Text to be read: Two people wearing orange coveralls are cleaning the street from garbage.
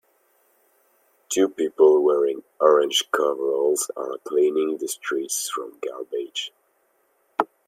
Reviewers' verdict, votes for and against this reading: rejected, 1, 2